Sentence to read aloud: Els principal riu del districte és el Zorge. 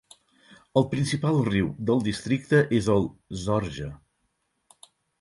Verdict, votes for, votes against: accepted, 4, 0